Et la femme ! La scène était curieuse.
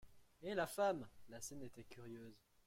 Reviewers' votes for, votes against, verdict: 2, 0, accepted